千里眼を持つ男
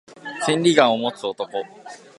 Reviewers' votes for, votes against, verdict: 2, 0, accepted